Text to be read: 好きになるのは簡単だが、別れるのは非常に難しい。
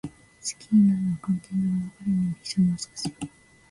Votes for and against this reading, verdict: 0, 2, rejected